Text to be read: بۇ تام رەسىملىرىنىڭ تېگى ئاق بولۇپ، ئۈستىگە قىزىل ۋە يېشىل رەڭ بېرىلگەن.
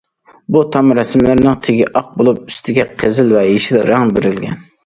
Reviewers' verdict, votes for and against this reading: accepted, 2, 0